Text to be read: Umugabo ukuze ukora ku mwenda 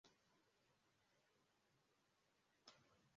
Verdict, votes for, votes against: rejected, 0, 2